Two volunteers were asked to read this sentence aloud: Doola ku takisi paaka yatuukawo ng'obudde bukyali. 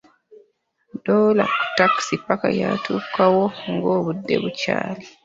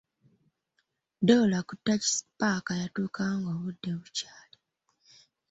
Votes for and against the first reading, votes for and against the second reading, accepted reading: 0, 2, 2, 0, second